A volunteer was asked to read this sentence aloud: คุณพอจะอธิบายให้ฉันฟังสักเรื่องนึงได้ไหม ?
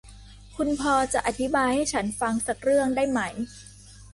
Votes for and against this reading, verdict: 0, 2, rejected